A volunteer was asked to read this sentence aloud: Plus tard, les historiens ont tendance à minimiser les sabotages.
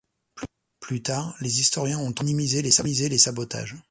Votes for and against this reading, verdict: 2, 0, accepted